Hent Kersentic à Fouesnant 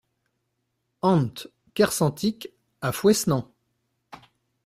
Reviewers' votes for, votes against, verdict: 0, 2, rejected